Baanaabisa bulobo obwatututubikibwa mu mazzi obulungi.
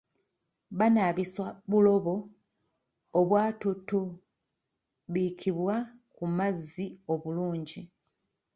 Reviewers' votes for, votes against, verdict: 0, 2, rejected